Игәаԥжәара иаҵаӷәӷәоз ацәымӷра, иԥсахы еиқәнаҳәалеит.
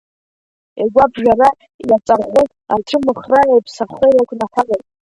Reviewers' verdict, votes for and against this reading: rejected, 1, 2